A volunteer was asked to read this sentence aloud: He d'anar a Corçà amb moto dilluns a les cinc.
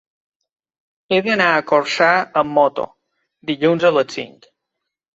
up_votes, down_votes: 2, 0